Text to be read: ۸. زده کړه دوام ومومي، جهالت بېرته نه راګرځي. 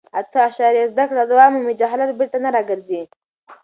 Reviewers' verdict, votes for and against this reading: rejected, 0, 2